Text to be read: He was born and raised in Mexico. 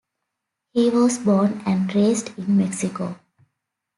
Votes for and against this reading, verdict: 2, 0, accepted